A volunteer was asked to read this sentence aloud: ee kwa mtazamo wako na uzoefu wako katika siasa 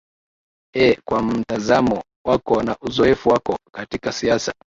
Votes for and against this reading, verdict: 2, 0, accepted